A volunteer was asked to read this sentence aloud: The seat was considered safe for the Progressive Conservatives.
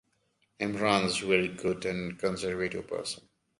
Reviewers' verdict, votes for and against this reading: rejected, 1, 2